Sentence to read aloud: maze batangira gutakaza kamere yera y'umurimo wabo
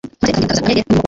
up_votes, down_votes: 1, 2